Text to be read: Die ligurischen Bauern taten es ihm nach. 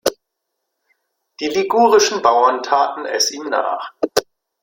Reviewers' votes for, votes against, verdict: 2, 0, accepted